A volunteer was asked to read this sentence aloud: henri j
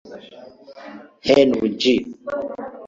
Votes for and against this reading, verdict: 0, 2, rejected